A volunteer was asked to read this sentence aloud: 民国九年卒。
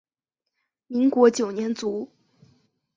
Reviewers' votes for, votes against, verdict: 4, 0, accepted